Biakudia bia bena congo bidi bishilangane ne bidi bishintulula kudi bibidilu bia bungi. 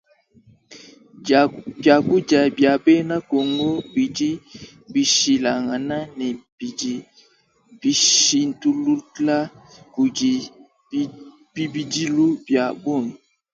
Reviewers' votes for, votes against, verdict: 3, 4, rejected